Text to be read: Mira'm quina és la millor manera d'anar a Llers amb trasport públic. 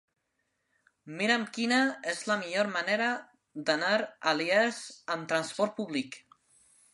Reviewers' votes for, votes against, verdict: 0, 2, rejected